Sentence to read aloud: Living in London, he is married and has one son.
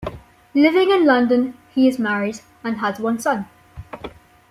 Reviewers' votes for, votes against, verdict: 2, 0, accepted